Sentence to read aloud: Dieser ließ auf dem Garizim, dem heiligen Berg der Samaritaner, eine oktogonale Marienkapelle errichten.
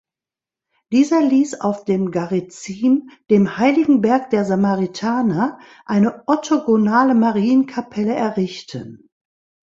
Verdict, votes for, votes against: rejected, 0, 2